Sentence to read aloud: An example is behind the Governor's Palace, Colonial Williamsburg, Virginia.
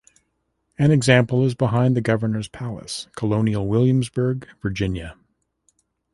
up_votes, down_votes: 2, 0